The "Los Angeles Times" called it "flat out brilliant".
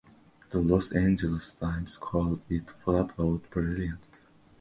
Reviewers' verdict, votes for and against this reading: accepted, 3, 0